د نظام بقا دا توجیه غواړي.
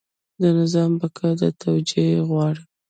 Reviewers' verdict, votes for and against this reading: accepted, 2, 0